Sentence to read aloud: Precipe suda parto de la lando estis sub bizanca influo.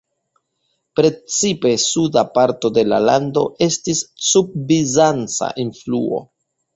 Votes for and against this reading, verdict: 2, 0, accepted